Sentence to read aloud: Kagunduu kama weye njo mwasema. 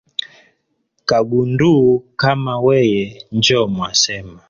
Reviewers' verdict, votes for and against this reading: rejected, 2, 3